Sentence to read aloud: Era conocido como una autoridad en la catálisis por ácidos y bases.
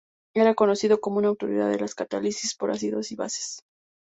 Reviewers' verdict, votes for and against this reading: rejected, 0, 2